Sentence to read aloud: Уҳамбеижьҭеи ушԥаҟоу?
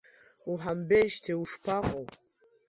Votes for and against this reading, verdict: 3, 0, accepted